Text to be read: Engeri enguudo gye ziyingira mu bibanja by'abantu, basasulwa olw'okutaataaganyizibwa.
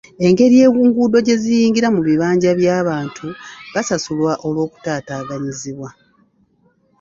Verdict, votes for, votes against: rejected, 0, 2